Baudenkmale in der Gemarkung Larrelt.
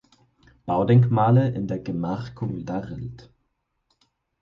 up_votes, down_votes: 4, 0